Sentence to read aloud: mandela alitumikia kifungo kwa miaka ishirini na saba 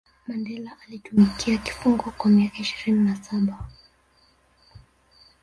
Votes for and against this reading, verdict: 0, 2, rejected